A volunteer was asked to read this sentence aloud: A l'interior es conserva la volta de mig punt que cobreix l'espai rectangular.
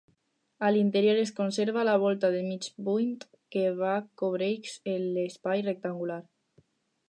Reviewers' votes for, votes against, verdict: 0, 4, rejected